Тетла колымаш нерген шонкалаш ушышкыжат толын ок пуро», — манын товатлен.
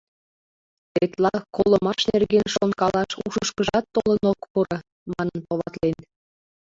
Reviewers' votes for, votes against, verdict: 2, 1, accepted